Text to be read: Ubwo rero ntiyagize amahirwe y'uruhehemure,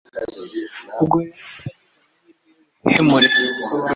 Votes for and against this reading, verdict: 1, 2, rejected